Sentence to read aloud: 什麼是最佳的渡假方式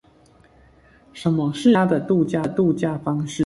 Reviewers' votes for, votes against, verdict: 0, 2, rejected